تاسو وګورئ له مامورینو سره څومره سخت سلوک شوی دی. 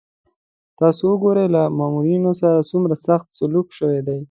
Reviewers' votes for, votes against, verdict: 2, 0, accepted